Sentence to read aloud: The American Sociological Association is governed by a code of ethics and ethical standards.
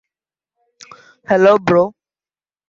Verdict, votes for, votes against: rejected, 0, 2